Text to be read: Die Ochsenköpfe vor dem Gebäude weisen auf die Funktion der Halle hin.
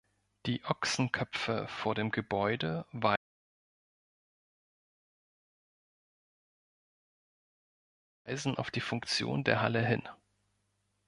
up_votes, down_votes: 1, 3